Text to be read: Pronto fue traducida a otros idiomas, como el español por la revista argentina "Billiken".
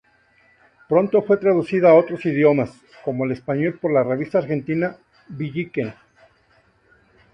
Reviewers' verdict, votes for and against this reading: rejected, 0, 2